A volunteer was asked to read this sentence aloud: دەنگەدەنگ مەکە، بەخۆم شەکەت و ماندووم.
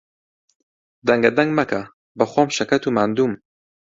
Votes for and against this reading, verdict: 2, 0, accepted